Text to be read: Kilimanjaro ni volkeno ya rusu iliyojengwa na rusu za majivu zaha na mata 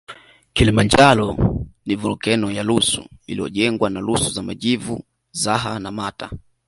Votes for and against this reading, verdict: 2, 0, accepted